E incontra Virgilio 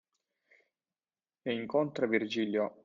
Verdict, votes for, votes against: accepted, 2, 0